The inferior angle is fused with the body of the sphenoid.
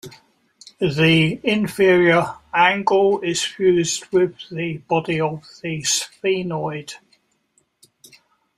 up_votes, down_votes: 3, 0